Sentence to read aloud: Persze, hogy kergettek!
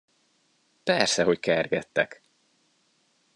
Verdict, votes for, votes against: accepted, 2, 0